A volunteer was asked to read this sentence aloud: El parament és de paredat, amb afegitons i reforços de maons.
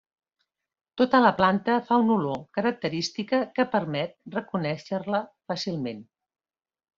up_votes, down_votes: 0, 2